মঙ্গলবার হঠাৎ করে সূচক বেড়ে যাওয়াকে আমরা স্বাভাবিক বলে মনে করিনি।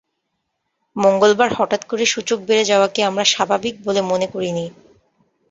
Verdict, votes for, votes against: accepted, 2, 0